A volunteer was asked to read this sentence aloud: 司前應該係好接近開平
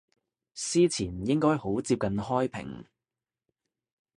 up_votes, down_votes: 0, 2